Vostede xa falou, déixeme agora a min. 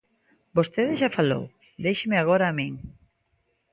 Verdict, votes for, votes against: accepted, 2, 0